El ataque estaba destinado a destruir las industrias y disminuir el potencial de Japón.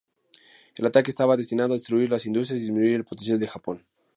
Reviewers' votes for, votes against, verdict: 2, 0, accepted